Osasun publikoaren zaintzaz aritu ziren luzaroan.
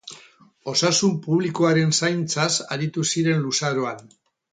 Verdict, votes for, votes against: accepted, 4, 0